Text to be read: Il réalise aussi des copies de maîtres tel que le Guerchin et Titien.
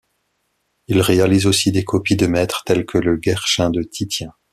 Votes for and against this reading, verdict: 0, 2, rejected